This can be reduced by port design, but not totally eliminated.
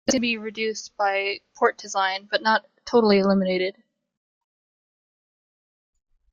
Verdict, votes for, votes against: rejected, 1, 2